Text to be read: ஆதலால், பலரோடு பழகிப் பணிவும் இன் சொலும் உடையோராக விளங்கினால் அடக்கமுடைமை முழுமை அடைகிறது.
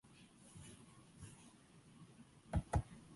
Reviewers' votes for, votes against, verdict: 0, 2, rejected